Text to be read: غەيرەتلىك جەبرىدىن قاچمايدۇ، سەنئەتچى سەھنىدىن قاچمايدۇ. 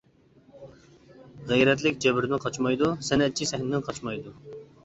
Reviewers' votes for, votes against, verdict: 2, 0, accepted